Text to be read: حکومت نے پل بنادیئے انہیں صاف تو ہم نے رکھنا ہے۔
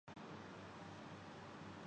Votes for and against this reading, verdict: 0, 2, rejected